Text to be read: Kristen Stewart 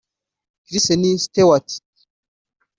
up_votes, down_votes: 0, 2